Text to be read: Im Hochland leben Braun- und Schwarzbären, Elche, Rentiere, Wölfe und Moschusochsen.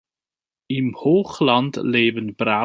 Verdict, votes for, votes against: rejected, 0, 2